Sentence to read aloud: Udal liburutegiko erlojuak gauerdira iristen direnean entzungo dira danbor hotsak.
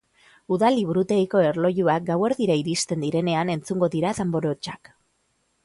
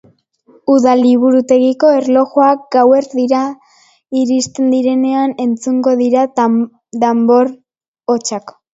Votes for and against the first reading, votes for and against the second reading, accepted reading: 2, 0, 1, 2, first